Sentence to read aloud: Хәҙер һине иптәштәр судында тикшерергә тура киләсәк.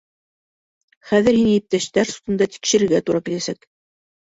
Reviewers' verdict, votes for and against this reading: accepted, 2, 0